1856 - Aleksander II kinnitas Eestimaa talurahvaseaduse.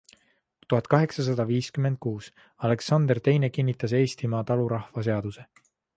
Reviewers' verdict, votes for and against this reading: rejected, 0, 2